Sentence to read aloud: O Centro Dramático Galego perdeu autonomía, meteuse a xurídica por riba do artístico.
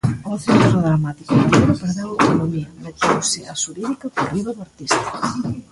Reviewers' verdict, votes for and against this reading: rejected, 0, 2